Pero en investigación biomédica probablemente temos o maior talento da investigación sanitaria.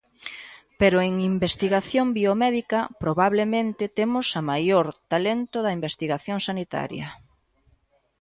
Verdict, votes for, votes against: rejected, 1, 2